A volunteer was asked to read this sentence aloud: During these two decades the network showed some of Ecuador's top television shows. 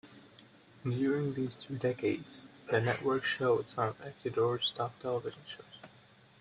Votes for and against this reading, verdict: 2, 0, accepted